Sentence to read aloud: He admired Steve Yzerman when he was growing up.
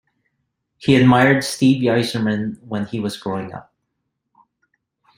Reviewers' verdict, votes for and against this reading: accepted, 2, 0